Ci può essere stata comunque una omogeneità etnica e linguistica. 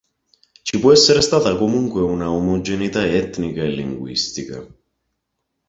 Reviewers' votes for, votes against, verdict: 2, 0, accepted